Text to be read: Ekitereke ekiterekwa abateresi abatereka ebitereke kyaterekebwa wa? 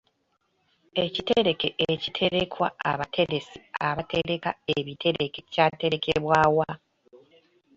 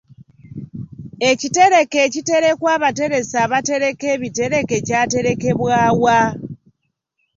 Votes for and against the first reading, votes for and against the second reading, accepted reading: 1, 2, 2, 0, second